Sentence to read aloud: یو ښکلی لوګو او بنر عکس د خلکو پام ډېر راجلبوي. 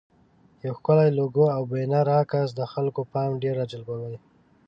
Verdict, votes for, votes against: accepted, 2, 0